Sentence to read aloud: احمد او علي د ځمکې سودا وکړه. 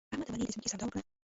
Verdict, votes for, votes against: rejected, 1, 2